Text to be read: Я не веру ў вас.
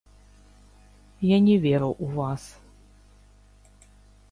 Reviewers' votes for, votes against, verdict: 0, 2, rejected